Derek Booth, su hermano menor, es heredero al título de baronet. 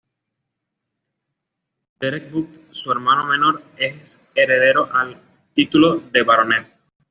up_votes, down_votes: 0, 2